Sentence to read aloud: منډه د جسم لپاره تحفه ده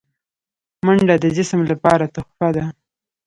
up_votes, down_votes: 1, 2